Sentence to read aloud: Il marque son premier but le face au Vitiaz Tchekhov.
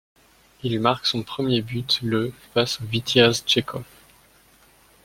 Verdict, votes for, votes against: accepted, 2, 0